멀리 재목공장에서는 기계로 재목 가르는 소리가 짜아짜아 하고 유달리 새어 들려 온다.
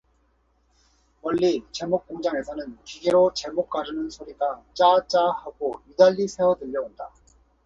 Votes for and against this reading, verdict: 4, 0, accepted